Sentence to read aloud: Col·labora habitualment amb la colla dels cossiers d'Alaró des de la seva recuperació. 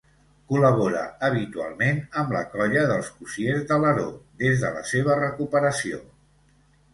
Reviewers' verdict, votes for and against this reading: accepted, 2, 0